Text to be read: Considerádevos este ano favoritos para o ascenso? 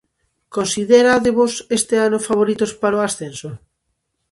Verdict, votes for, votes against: accepted, 2, 0